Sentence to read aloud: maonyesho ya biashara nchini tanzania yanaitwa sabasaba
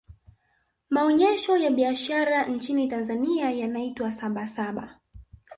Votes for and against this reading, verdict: 0, 2, rejected